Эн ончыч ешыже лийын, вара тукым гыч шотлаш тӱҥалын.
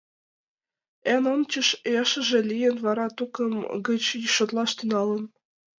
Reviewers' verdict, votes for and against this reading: accepted, 2, 0